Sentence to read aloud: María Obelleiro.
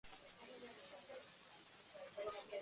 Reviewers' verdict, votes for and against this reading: rejected, 0, 2